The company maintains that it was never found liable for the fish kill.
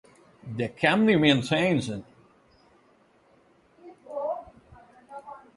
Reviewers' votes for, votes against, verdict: 0, 4, rejected